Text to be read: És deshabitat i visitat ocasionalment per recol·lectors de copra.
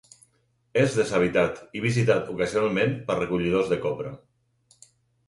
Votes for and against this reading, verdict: 0, 4, rejected